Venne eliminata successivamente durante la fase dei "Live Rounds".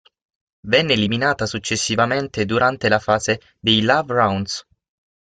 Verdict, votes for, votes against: rejected, 0, 6